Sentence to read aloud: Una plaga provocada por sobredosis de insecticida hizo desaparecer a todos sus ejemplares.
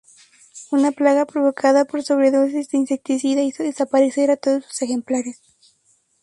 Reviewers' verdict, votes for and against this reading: rejected, 2, 2